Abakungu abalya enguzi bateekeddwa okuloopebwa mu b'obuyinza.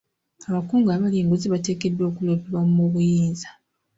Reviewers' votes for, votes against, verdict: 2, 0, accepted